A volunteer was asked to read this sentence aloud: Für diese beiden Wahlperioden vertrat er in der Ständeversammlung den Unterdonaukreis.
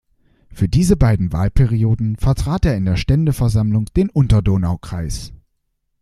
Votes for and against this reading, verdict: 2, 0, accepted